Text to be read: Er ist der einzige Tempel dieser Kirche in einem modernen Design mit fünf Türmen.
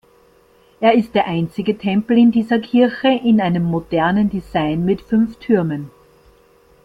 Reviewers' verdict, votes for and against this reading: rejected, 1, 2